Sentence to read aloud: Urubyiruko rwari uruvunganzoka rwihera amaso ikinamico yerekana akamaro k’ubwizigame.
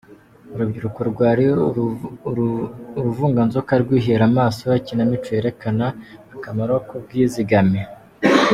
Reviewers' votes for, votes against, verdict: 1, 2, rejected